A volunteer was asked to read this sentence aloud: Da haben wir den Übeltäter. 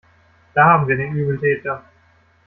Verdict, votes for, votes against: rejected, 1, 2